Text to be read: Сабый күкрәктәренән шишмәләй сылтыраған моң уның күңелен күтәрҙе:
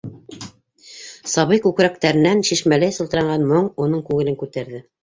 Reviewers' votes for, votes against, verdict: 1, 2, rejected